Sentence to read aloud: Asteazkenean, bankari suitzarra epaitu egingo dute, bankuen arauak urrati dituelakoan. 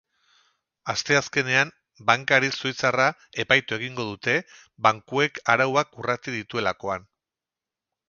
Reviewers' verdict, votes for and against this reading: rejected, 2, 2